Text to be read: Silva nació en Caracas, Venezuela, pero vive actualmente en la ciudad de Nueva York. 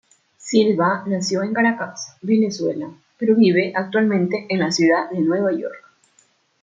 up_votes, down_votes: 2, 0